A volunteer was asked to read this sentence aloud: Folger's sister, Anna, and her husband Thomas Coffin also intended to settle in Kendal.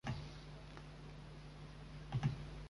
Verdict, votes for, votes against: rejected, 0, 2